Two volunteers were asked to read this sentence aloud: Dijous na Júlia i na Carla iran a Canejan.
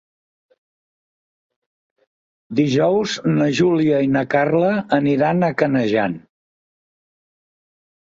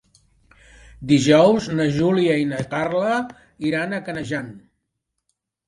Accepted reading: second